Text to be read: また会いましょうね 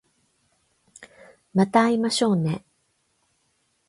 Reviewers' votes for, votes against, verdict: 12, 0, accepted